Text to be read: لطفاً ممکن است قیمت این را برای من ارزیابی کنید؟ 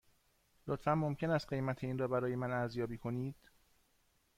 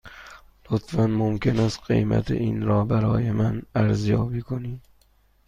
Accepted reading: second